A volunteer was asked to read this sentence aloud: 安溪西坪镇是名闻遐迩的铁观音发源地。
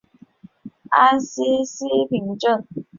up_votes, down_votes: 0, 2